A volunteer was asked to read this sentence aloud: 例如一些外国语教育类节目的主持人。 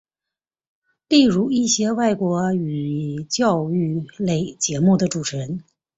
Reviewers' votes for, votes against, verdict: 2, 0, accepted